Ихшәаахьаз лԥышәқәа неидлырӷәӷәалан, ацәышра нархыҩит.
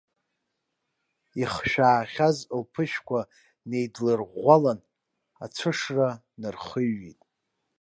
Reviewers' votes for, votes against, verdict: 2, 0, accepted